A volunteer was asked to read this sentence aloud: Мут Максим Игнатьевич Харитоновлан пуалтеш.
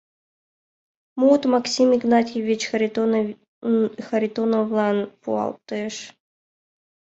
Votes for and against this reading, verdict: 0, 2, rejected